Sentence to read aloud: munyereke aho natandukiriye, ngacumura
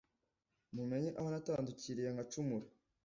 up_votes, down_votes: 1, 2